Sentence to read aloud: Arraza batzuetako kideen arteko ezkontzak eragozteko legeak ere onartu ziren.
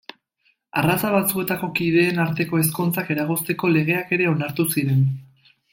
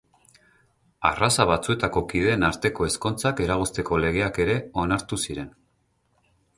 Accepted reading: first